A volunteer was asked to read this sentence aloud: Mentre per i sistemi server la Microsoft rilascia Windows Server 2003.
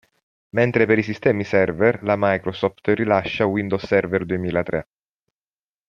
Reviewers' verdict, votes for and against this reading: rejected, 0, 2